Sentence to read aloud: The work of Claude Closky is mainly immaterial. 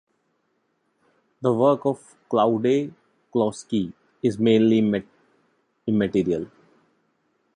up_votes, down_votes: 0, 2